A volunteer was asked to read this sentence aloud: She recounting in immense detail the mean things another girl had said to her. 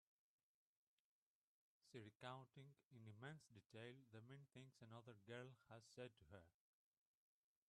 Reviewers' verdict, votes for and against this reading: rejected, 0, 3